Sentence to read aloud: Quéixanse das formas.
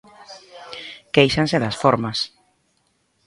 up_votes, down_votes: 2, 0